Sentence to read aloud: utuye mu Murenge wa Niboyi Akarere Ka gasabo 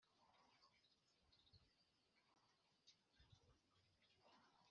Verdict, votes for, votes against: rejected, 1, 2